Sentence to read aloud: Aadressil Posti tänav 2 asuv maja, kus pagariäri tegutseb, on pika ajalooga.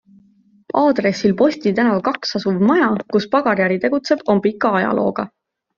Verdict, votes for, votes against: rejected, 0, 2